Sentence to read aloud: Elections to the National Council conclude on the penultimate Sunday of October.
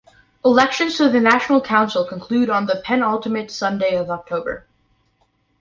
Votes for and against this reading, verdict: 2, 0, accepted